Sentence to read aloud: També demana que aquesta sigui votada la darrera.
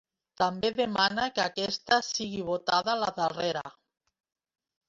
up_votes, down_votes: 0, 3